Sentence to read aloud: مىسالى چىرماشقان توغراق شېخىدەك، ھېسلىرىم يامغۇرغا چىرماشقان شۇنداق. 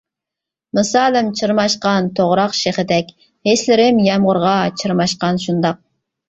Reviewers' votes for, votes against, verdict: 0, 2, rejected